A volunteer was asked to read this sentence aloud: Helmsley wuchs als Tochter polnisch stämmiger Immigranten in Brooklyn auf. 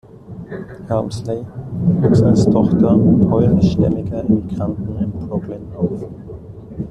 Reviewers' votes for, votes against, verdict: 2, 1, accepted